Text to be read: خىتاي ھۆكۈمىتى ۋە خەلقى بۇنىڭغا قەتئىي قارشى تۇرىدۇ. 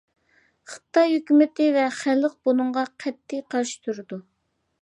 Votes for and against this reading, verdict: 1, 2, rejected